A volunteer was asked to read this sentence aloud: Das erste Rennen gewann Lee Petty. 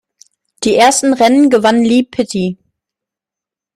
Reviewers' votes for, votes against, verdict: 0, 2, rejected